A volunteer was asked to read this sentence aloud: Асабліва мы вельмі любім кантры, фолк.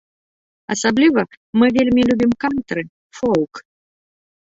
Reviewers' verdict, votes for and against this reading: rejected, 1, 2